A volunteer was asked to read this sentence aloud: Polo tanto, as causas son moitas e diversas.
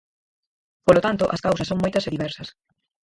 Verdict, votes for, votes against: rejected, 2, 4